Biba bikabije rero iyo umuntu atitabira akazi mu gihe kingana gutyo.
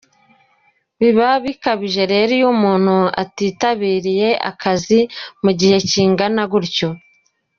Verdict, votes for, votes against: accepted, 2, 0